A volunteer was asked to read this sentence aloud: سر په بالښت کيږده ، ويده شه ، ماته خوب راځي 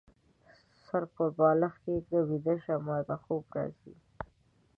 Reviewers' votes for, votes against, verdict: 0, 2, rejected